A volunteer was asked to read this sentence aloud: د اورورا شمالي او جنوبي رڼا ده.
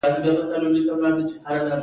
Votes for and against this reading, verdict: 2, 0, accepted